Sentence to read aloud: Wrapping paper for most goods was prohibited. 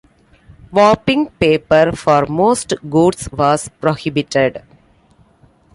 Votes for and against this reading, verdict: 0, 2, rejected